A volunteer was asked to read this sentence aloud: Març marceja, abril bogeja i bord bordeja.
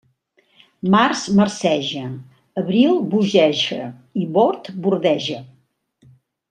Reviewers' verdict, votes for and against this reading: accepted, 3, 0